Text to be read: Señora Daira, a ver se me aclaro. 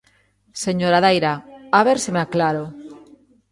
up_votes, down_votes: 1, 2